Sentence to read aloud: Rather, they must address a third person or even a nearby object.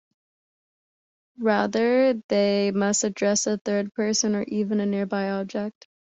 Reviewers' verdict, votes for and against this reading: accepted, 2, 0